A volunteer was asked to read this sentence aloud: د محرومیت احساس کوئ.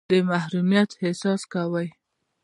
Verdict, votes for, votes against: accepted, 2, 0